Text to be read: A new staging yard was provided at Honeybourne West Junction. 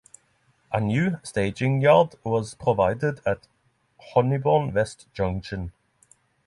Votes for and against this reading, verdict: 6, 0, accepted